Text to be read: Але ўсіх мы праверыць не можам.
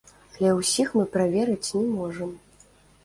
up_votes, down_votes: 1, 2